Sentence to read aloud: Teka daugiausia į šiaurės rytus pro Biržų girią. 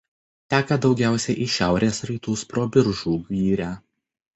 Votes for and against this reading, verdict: 1, 2, rejected